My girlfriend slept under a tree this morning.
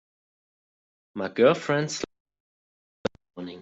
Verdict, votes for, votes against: rejected, 0, 2